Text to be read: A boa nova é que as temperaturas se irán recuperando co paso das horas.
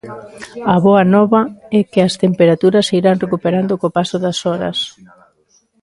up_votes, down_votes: 2, 1